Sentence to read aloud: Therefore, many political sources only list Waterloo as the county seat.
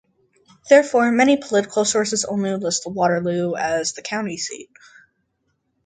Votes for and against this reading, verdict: 2, 0, accepted